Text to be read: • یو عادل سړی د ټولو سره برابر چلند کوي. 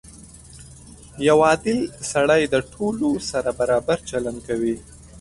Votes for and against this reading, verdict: 2, 0, accepted